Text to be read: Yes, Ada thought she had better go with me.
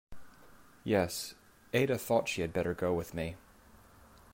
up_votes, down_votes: 2, 0